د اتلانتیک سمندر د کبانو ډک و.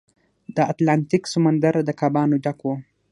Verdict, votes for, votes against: rejected, 0, 6